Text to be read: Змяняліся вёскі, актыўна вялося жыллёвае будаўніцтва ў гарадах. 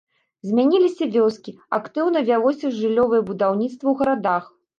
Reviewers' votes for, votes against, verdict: 1, 2, rejected